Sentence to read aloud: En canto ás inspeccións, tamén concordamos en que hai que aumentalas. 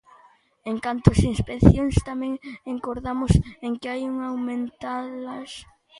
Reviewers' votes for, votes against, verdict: 0, 2, rejected